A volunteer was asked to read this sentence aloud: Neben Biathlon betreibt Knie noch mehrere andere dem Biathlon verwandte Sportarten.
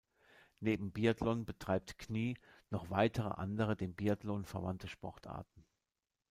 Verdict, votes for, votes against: rejected, 0, 2